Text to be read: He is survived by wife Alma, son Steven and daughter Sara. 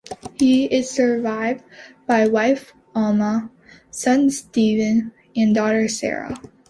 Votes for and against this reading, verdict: 2, 0, accepted